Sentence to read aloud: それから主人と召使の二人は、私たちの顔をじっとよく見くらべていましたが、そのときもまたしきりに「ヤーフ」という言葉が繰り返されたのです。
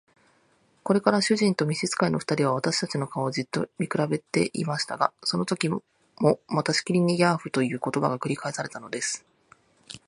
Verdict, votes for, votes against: rejected, 1, 2